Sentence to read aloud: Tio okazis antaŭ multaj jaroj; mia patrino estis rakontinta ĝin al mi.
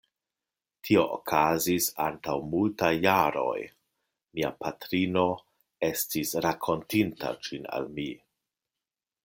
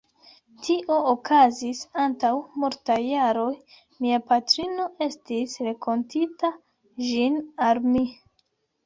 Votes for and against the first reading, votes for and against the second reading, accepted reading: 2, 0, 1, 2, first